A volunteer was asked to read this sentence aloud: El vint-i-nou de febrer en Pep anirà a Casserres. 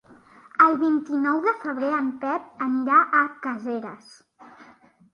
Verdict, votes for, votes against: rejected, 0, 3